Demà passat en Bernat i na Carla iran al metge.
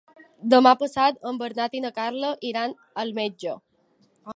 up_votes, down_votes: 4, 0